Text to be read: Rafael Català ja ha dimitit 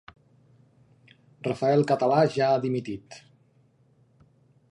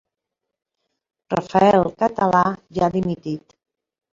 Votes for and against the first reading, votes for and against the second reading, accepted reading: 2, 0, 1, 2, first